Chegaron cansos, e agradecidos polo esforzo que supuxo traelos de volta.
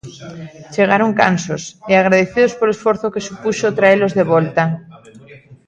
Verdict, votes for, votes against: rejected, 1, 2